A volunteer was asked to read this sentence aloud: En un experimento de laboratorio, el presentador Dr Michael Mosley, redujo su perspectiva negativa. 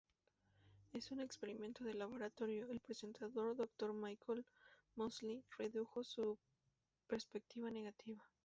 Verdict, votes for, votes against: rejected, 0, 2